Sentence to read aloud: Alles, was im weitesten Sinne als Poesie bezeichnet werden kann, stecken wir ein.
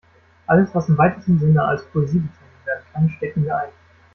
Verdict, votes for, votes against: rejected, 1, 2